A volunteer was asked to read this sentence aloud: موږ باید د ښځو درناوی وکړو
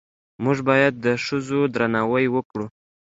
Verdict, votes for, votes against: accepted, 2, 0